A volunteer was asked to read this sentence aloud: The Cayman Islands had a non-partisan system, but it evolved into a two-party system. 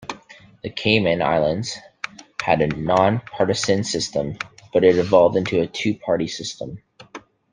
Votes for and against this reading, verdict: 1, 2, rejected